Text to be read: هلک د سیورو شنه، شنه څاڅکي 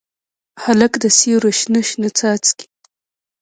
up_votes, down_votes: 1, 2